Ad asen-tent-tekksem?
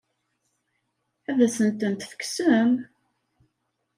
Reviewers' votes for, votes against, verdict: 2, 0, accepted